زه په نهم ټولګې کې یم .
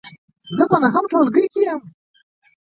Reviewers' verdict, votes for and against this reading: rejected, 0, 2